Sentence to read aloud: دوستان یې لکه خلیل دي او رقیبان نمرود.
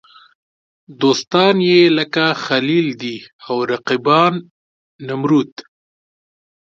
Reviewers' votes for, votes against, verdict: 2, 0, accepted